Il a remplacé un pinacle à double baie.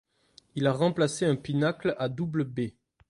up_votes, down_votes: 2, 1